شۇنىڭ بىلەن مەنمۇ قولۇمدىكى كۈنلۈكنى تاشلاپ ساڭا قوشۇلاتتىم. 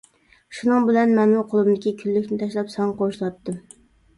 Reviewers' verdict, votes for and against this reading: rejected, 1, 2